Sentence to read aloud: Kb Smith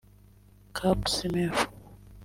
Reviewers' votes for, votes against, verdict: 1, 2, rejected